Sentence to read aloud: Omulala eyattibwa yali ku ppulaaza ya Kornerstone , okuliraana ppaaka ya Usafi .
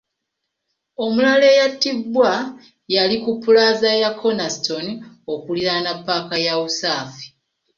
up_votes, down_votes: 2, 0